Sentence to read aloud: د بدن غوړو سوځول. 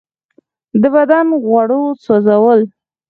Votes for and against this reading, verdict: 0, 4, rejected